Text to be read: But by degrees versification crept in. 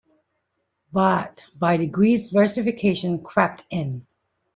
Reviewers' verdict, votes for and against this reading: accepted, 2, 0